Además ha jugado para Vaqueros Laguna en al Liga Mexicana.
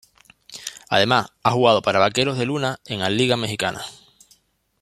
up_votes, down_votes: 1, 2